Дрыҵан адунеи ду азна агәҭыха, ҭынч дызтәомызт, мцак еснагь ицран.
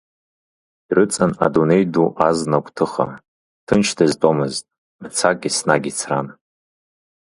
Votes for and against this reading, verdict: 2, 0, accepted